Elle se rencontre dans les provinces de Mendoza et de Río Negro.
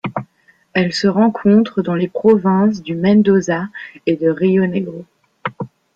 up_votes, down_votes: 1, 2